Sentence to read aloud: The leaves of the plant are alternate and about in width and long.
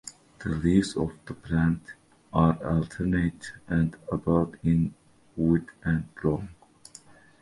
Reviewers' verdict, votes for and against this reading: accepted, 2, 0